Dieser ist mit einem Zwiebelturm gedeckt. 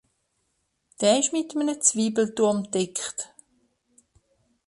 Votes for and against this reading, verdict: 0, 2, rejected